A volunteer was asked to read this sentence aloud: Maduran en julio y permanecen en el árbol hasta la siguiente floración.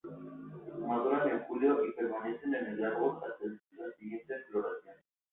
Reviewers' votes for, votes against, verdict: 0, 2, rejected